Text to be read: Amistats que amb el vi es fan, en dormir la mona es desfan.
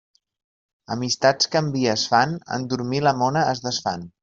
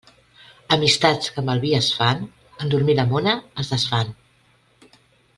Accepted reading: second